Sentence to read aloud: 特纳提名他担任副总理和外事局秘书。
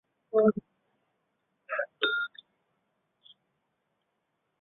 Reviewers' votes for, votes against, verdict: 0, 4, rejected